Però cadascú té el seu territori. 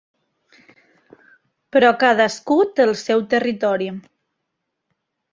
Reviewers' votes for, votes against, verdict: 3, 0, accepted